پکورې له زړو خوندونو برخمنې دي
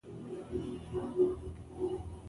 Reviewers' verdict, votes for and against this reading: rejected, 1, 2